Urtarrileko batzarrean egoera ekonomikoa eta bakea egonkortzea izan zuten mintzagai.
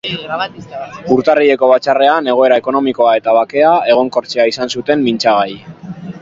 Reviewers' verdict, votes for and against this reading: rejected, 1, 2